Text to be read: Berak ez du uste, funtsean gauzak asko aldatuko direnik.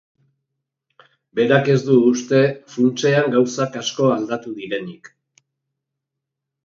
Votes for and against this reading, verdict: 0, 2, rejected